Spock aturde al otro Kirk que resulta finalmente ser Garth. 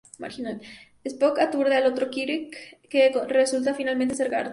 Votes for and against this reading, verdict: 0, 2, rejected